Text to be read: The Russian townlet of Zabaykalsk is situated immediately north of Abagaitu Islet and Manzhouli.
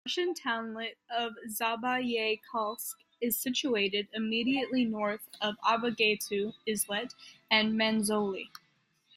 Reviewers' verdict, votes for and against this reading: rejected, 1, 2